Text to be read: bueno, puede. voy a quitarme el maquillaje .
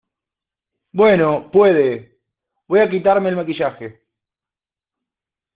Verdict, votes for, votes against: accepted, 2, 1